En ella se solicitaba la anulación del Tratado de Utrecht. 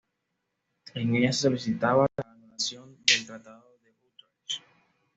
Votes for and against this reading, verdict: 1, 2, rejected